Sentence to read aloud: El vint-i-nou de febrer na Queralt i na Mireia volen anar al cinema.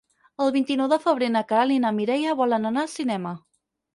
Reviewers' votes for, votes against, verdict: 4, 0, accepted